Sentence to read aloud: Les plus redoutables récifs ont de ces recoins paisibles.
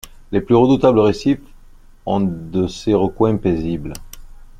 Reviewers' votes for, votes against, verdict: 2, 0, accepted